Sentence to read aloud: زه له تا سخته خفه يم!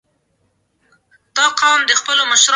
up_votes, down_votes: 1, 2